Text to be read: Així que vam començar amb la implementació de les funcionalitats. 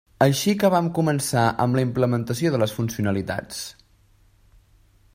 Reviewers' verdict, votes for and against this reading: accepted, 3, 0